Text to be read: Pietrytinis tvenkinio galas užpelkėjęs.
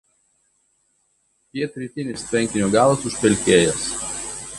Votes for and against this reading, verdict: 1, 2, rejected